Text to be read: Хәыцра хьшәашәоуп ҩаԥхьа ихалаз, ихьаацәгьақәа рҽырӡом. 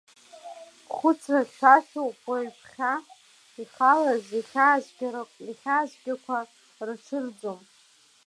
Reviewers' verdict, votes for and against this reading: rejected, 0, 2